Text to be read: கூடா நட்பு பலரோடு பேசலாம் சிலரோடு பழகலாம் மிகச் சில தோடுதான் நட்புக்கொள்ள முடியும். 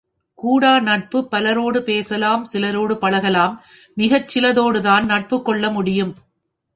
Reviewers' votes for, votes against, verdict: 3, 0, accepted